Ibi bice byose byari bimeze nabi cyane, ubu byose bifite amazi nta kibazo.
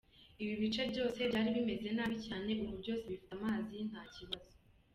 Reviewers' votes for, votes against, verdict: 2, 0, accepted